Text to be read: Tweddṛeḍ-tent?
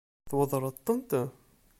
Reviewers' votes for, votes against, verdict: 2, 0, accepted